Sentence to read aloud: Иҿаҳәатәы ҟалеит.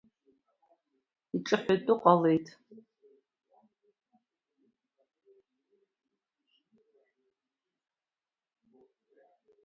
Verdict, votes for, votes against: rejected, 1, 2